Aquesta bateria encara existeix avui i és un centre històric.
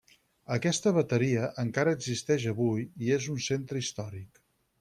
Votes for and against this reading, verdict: 6, 0, accepted